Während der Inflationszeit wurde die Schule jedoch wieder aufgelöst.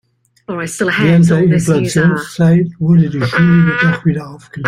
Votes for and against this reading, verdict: 0, 2, rejected